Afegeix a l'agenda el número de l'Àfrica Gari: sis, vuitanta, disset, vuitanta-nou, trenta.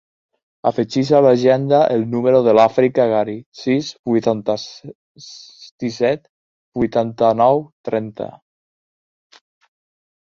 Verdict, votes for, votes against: rejected, 0, 2